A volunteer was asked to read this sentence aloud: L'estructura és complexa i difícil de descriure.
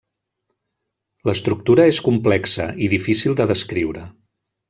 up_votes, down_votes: 3, 1